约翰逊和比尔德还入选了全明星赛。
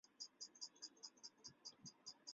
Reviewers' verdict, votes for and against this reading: rejected, 0, 2